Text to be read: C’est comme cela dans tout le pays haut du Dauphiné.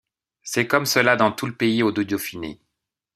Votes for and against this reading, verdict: 1, 2, rejected